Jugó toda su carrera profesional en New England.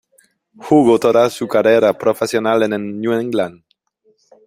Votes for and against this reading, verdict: 1, 2, rejected